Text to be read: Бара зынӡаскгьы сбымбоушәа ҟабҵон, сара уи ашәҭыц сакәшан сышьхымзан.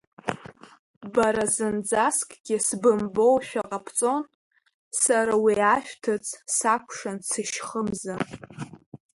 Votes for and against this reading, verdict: 0, 2, rejected